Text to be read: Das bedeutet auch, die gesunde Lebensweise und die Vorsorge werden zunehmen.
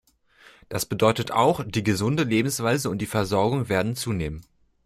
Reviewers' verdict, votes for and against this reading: rejected, 1, 2